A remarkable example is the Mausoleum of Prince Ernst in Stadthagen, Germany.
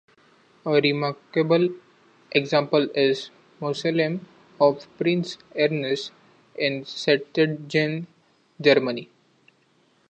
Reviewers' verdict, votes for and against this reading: rejected, 0, 2